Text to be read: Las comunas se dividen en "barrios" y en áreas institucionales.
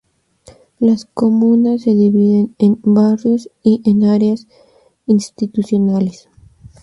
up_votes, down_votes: 2, 0